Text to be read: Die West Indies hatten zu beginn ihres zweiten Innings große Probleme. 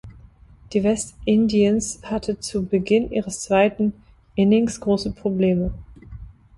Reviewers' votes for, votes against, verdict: 0, 2, rejected